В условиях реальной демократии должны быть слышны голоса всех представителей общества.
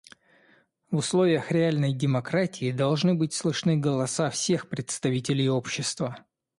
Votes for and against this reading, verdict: 2, 0, accepted